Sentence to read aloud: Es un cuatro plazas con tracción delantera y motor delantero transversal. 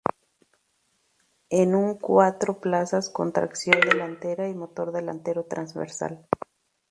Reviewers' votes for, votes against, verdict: 0, 2, rejected